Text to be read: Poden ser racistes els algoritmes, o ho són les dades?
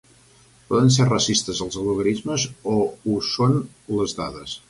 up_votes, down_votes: 1, 2